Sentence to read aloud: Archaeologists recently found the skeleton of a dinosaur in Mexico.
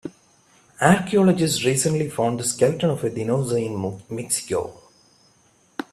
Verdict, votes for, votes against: rejected, 0, 2